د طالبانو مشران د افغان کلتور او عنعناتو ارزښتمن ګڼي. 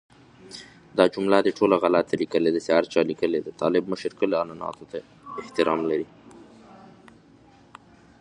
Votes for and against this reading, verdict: 1, 2, rejected